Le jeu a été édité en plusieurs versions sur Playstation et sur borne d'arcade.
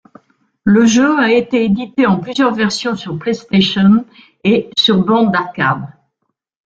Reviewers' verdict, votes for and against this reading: rejected, 0, 2